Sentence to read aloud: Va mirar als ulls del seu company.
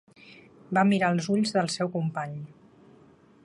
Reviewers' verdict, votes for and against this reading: accepted, 3, 0